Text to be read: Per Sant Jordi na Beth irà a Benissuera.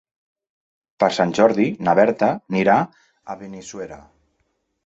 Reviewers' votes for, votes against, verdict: 1, 2, rejected